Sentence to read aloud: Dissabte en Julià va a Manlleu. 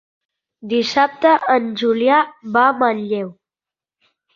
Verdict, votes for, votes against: accepted, 4, 0